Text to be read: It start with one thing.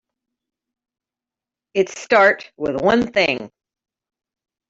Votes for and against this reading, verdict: 3, 0, accepted